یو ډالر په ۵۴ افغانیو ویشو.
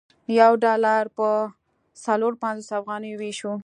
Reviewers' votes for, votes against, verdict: 0, 2, rejected